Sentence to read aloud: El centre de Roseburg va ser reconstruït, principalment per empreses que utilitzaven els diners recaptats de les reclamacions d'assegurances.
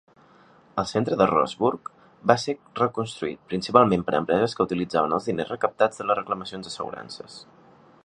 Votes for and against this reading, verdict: 2, 0, accepted